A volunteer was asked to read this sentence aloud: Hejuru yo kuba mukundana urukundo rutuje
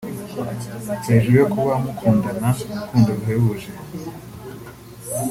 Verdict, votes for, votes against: rejected, 2, 3